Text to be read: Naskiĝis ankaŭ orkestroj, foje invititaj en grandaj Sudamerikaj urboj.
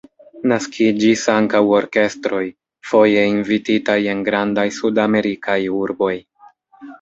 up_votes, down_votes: 0, 2